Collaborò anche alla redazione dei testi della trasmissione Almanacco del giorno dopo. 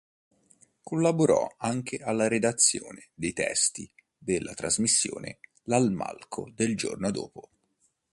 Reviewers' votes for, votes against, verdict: 0, 3, rejected